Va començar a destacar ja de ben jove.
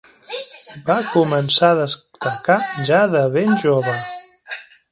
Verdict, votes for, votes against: rejected, 1, 2